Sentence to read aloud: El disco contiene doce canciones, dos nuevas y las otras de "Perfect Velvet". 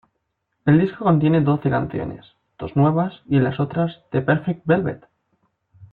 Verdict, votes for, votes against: accepted, 2, 0